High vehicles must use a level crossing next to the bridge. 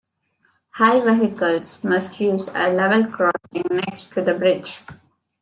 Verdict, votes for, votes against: rejected, 0, 2